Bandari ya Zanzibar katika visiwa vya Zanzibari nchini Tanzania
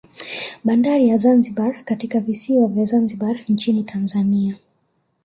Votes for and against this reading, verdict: 1, 2, rejected